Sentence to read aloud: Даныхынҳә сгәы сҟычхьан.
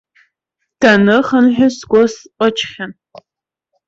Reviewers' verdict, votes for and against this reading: rejected, 1, 2